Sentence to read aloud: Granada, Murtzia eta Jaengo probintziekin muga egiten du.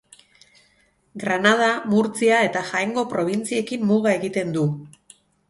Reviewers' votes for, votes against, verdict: 4, 0, accepted